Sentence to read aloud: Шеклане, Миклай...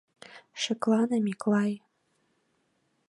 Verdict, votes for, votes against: accepted, 2, 0